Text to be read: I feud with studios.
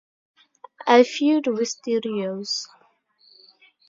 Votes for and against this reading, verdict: 2, 0, accepted